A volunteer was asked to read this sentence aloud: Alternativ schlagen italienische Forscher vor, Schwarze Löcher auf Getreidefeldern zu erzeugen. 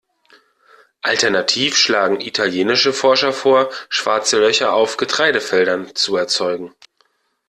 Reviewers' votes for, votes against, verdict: 2, 0, accepted